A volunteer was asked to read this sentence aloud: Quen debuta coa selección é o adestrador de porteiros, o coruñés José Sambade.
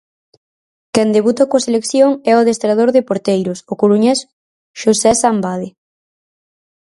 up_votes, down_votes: 0, 4